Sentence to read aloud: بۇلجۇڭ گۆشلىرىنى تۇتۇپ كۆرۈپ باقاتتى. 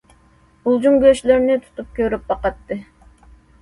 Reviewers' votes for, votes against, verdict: 2, 0, accepted